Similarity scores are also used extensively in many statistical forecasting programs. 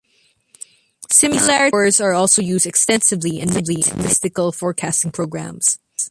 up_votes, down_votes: 0, 2